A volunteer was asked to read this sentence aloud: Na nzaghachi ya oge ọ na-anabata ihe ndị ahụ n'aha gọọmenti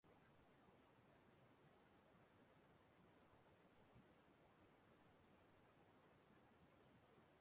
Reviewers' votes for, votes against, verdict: 0, 2, rejected